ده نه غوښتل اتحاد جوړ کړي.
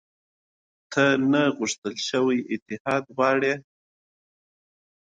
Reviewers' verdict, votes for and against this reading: accepted, 2, 0